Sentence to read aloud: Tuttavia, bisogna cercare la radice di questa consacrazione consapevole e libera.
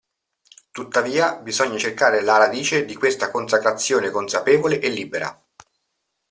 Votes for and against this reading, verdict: 2, 0, accepted